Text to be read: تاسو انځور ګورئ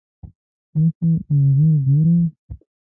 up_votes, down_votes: 1, 2